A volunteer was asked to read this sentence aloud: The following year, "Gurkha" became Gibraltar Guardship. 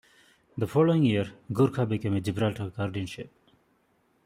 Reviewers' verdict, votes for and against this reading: rejected, 0, 2